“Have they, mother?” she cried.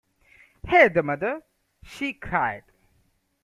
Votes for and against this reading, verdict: 1, 2, rejected